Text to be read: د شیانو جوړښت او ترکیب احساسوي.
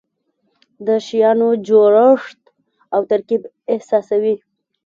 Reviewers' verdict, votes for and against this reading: accepted, 2, 0